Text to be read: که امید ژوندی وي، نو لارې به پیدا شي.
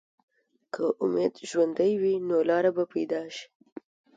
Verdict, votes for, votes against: accepted, 2, 0